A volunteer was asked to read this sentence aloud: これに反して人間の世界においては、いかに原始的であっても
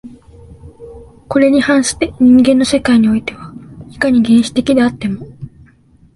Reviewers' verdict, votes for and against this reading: accepted, 2, 0